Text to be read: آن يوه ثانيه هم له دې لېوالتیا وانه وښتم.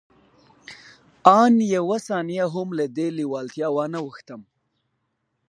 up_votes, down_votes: 2, 0